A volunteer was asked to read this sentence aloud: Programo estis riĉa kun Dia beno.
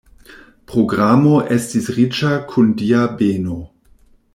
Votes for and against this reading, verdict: 2, 0, accepted